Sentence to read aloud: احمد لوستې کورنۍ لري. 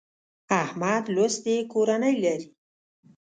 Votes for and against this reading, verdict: 2, 0, accepted